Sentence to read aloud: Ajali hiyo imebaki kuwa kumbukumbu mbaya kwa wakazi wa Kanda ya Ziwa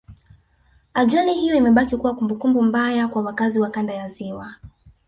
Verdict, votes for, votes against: accepted, 2, 0